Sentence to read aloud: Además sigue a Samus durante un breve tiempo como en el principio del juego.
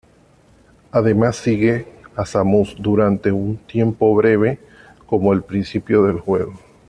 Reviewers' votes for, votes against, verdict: 0, 2, rejected